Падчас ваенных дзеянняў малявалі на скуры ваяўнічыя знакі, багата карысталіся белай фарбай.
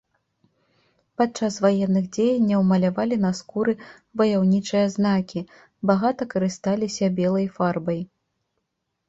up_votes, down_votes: 2, 0